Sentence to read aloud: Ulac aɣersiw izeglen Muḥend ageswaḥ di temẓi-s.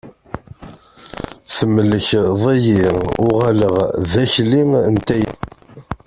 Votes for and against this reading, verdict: 0, 2, rejected